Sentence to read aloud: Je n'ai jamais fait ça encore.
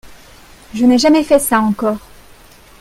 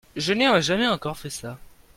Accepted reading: first